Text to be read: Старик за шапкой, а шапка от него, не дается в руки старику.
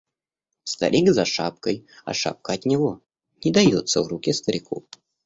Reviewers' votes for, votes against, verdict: 2, 0, accepted